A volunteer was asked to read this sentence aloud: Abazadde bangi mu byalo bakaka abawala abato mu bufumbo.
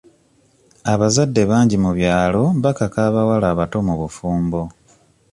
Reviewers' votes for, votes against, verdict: 2, 0, accepted